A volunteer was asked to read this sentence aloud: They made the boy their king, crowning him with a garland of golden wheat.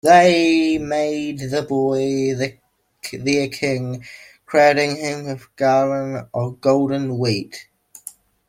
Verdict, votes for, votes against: rejected, 0, 2